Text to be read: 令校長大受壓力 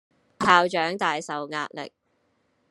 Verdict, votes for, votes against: rejected, 1, 2